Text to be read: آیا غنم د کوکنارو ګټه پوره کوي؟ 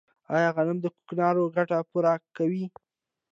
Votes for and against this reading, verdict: 2, 0, accepted